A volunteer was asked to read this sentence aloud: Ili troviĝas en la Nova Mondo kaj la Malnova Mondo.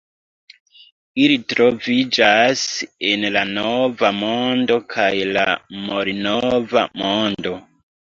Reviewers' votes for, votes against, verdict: 1, 2, rejected